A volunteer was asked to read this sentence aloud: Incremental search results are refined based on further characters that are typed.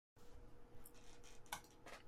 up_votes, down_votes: 0, 2